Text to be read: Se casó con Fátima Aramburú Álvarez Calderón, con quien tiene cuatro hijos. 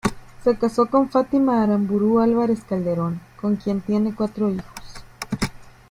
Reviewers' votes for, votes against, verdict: 2, 0, accepted